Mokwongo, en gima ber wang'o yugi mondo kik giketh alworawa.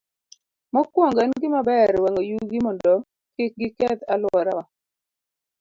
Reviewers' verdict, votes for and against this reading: accepted, 2, 0